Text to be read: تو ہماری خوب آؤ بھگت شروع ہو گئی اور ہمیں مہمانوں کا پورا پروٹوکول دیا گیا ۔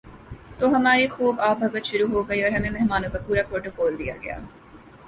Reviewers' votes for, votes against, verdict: 2, 1, accepted